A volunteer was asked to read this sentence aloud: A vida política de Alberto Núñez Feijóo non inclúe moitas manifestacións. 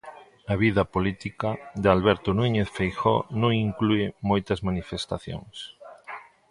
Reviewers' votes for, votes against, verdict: 2, 0, accepted